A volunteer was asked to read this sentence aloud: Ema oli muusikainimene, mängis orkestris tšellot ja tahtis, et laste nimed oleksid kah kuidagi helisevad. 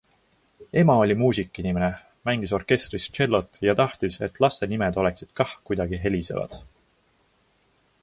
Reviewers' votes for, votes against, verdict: 2, 0, accepted